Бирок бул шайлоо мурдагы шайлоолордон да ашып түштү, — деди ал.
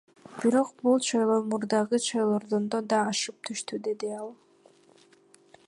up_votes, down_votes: 1, 2